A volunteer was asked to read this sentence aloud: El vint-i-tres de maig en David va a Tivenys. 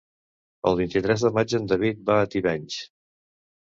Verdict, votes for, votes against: accepted, 2, 0